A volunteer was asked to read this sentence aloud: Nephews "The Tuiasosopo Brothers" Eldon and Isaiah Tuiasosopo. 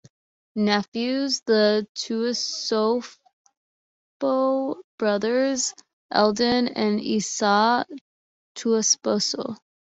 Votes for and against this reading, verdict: 2, 0, accepted